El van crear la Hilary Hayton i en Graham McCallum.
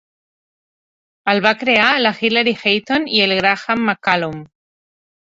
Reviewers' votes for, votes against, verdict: 0, 2, rejected